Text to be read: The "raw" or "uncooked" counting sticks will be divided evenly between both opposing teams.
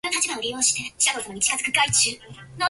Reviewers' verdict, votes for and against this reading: rejected, 0, 2